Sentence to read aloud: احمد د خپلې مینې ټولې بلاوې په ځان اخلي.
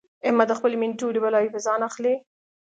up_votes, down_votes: 2, 0